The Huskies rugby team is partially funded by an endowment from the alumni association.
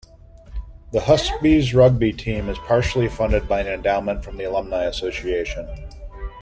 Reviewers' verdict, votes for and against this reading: rejected, 1, 2